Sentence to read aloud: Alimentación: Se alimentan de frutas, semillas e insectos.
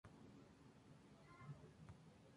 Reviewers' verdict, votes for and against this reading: rejected, 0, 2